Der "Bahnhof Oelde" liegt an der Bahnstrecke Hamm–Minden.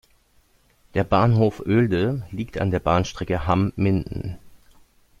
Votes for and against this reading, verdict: 2, 1, accepted